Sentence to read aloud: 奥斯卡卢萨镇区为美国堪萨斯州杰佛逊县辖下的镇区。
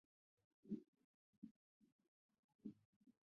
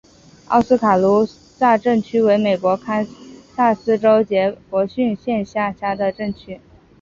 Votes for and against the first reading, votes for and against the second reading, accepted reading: 1, 2, 4, 3, second